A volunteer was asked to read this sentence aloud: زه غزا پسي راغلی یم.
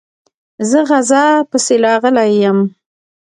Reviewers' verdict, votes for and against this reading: accepted, 2, 0